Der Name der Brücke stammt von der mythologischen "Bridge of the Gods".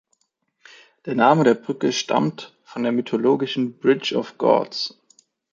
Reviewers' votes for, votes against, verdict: 0, 2, rejected